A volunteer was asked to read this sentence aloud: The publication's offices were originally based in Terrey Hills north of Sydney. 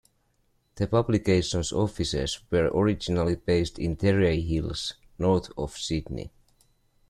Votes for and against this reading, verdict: 2, 0, accepted